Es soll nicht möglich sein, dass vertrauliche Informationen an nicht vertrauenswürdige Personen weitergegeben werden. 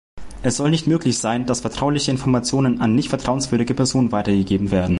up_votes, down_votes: 2, 0